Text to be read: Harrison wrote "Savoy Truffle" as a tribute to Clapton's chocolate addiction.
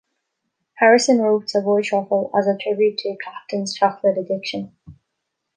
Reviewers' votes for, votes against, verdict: 2, 0, accepted